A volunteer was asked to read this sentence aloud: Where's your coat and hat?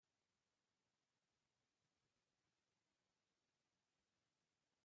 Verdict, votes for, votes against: rejected, 1, 2